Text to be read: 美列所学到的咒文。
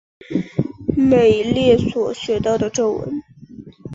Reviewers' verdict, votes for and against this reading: accepted, 3, 0